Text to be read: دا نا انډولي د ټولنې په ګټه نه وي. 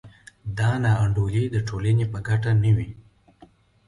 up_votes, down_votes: 2, 0